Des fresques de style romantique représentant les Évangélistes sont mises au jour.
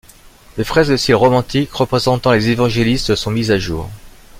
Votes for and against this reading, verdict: 1, 2, rejected